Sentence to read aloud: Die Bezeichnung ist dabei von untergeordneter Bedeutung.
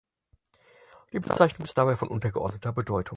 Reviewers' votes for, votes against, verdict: 2, 6, rejected